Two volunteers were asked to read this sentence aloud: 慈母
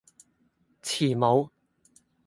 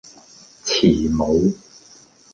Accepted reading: second